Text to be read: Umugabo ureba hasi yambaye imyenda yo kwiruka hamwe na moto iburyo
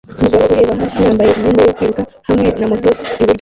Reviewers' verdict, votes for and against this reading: rejected, 0, 2